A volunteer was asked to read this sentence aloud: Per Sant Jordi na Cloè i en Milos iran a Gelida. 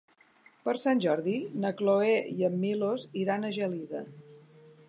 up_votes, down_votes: 2, 0